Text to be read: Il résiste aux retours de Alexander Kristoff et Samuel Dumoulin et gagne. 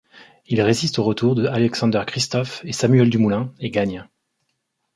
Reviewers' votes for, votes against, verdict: 2, 0, accepted